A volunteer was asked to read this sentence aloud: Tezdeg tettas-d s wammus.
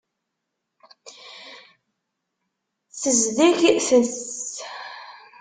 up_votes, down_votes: 0, 2